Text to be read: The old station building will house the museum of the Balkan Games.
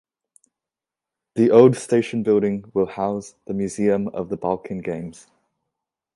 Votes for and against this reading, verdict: 2, 1, accepted